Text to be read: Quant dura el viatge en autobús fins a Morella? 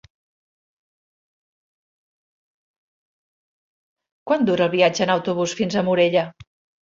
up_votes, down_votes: 3, 0